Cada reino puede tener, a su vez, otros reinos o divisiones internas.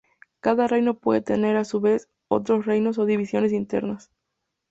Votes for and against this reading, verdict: 4, 0, accepted